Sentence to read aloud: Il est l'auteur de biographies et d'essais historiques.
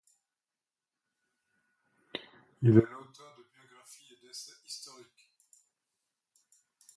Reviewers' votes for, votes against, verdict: 1, 2, rejected